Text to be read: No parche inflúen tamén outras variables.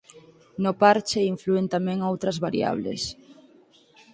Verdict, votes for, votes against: accepted, 4, 0